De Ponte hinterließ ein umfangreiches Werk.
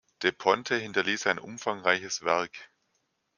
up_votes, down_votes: 2, 0